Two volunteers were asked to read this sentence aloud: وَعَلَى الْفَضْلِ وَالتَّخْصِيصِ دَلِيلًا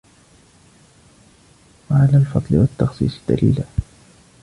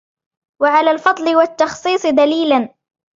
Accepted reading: second